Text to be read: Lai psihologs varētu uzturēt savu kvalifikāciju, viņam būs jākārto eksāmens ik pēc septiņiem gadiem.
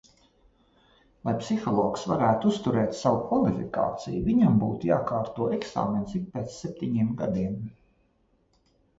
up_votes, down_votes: 0, 2